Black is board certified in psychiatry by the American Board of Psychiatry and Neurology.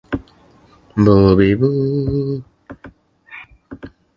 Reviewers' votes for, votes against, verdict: 0, 4, rejected